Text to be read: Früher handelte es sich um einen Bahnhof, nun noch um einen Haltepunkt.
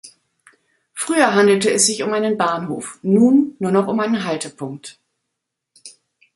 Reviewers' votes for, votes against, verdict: 1, 2, rejected